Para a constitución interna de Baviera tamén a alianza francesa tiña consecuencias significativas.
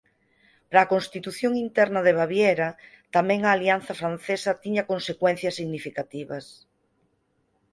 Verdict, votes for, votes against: accepted, 4, 0